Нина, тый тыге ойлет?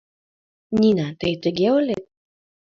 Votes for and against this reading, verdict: 1, 2, rejected